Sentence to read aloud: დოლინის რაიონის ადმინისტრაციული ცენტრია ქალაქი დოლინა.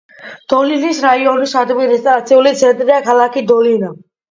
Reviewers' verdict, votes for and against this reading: accepted, 2, 0